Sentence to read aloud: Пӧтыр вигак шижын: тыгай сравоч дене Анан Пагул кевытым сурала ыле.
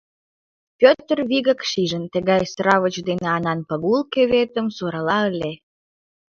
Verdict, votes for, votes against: accepted, 2, 1